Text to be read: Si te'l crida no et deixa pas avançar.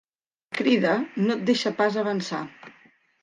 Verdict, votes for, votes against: rejected, 1, 2